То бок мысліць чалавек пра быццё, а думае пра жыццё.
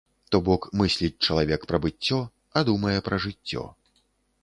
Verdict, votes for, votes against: accepted, 2, 0